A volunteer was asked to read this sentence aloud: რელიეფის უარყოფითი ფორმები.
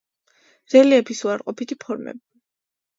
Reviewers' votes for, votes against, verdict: 3, 0, accepted